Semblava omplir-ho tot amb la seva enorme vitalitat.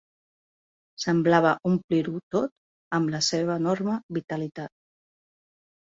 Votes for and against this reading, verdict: 4, 0, accepted